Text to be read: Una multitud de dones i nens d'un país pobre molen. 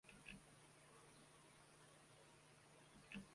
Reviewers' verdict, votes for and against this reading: rejected, 0, 2